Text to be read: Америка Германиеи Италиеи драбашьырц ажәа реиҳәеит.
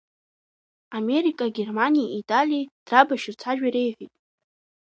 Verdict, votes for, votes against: rejected, 1, 2